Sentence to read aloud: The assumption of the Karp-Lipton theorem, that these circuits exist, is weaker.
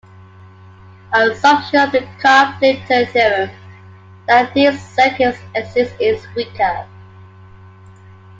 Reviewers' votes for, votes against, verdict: 2, 0, accepted